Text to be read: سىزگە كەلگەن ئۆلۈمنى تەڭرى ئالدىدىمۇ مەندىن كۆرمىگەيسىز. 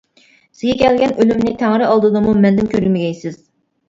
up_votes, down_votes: 2, 0